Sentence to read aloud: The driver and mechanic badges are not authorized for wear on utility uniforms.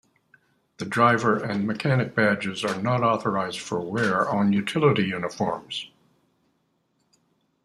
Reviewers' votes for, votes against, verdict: 2, 0, accepted